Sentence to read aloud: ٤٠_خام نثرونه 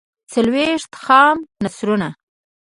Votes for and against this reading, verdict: 0, 2, rejected